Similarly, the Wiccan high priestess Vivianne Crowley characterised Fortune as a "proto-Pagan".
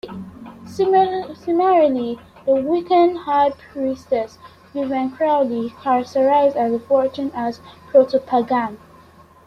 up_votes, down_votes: 1, 2